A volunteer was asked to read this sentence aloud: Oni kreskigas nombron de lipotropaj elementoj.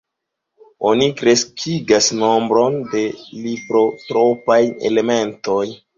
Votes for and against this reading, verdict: 1, 2, rejected